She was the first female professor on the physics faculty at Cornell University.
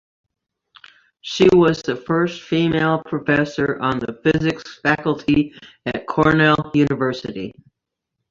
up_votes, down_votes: 2, 0